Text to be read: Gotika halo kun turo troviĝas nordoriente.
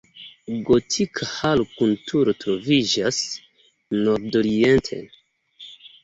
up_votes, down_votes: 3, 2